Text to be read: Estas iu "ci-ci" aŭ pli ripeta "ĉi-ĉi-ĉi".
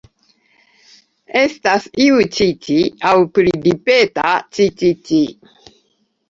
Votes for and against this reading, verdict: 0, 2, rejected